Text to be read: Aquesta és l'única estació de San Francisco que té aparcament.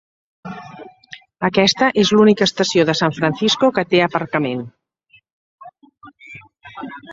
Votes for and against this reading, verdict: 5, 2, accepted